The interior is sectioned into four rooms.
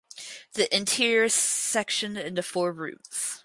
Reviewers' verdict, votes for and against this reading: rejected, 2, 2